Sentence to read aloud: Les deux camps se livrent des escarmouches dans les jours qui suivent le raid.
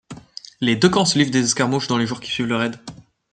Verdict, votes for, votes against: accepted, 2, 0